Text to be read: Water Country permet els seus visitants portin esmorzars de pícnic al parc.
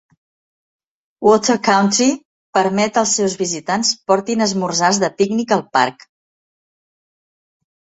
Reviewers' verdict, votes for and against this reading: accepted, 2, 0